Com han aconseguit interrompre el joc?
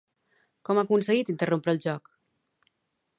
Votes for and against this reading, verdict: 0, 2, rejected